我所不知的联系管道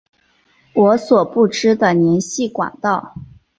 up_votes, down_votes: 4, 0